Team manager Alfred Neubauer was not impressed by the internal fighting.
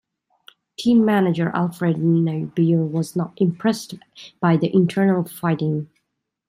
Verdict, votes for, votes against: rejected, 1, 2